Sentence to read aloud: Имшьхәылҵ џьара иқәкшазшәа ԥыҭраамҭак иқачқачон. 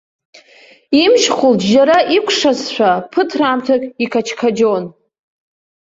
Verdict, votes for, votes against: rejected, 0, 2